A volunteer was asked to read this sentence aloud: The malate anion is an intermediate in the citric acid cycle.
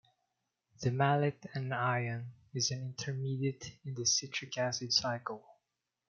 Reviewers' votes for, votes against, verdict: 1, 2, rejected